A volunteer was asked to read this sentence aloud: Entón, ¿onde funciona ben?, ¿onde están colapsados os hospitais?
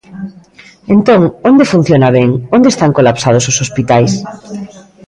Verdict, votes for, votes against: accepted, 2, 1